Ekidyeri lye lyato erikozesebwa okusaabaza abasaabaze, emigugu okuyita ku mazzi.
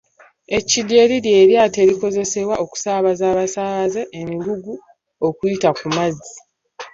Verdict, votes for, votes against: accepted, 2, 0